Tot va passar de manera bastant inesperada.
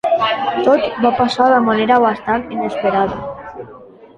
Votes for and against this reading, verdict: 0, 2, rejected